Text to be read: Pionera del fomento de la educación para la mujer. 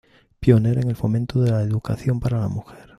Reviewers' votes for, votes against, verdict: 1, 2, rejected